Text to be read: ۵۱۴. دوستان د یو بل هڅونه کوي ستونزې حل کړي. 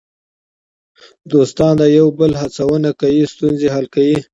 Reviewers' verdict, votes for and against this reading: rejected, 0, 2